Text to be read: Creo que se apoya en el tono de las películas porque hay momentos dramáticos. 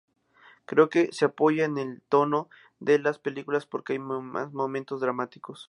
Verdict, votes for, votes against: accepted, 2, 0